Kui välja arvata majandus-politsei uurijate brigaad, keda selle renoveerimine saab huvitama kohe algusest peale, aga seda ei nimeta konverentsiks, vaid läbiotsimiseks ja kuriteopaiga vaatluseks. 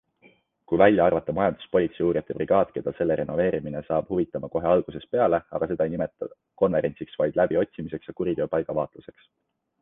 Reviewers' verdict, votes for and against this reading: accepted, 2, 0